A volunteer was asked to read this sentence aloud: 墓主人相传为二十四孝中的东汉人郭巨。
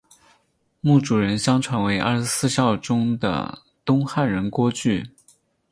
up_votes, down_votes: 4, 0